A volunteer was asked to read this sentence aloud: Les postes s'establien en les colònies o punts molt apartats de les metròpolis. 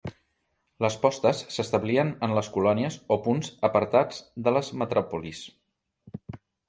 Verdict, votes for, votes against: rejected, 1, 2